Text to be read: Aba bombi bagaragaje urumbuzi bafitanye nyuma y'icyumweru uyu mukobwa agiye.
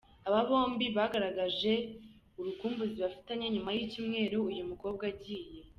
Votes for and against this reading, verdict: 1, 2, rejected